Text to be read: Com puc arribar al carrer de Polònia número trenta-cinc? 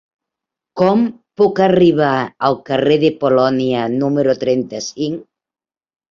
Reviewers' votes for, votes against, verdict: 4, 0, accepted